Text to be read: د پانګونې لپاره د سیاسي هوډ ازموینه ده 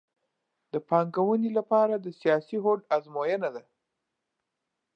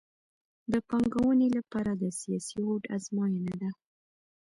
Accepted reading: first